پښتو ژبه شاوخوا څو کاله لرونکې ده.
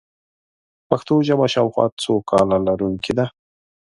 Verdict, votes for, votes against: accepted, 3, 0